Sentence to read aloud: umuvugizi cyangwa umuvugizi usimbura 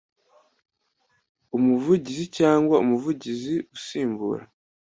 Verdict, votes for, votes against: accepted, 2, 0